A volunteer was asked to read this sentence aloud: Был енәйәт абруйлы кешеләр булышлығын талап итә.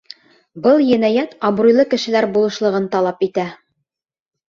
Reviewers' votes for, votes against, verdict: 2, 0, accepted